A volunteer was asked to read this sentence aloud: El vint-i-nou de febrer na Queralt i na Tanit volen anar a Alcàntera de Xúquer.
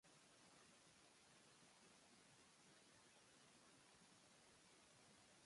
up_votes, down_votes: 0, 4